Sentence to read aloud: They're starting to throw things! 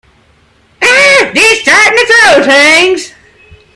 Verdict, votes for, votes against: rejected, 1, 2